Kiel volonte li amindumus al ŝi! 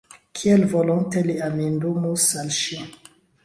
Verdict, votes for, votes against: accepted, 2, 0